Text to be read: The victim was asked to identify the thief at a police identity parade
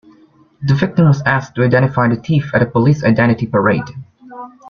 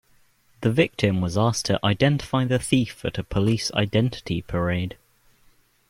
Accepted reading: second